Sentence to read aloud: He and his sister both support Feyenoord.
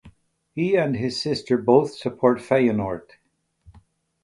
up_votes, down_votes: 4, 0